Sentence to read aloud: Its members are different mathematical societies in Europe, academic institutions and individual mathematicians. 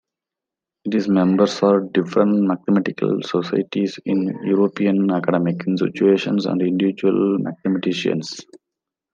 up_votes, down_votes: 0, 2